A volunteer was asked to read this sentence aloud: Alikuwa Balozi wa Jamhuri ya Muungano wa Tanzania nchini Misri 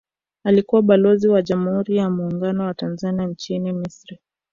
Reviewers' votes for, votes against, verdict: 1, 2, rejected